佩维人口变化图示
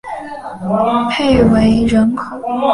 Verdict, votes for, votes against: rejected, 1, 3